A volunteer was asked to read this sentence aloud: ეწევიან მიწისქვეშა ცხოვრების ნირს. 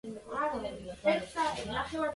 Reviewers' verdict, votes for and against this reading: rejected, 0, 2